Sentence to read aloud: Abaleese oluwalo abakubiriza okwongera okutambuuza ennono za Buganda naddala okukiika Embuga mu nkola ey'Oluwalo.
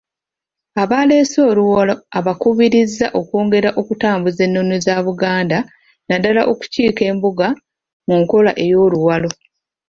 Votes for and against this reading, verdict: 1, 2, rejected